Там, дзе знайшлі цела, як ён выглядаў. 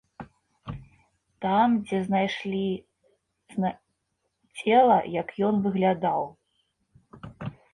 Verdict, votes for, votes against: rejected, 0, 2